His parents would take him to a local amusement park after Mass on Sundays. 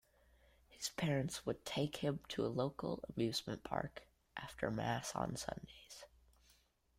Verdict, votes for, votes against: accepted, 2, 0